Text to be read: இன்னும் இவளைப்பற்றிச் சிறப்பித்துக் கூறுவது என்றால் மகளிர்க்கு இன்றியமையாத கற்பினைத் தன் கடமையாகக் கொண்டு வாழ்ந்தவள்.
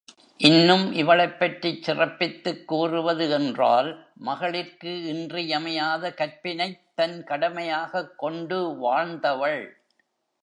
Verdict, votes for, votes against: rejected, 1, 2